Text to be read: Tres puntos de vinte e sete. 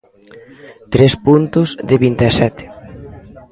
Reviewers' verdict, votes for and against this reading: rejected, 0, 2